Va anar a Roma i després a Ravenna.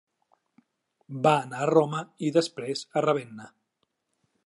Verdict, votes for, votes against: accepted, 3, 0